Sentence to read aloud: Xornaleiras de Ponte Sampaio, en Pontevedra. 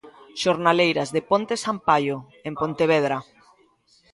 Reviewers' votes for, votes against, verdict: 2, 1, accepted